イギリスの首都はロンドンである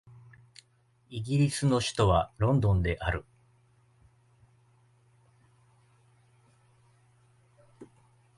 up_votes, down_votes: 1, 2